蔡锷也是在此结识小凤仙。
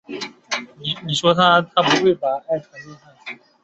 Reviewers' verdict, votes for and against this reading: rejected, 2, 4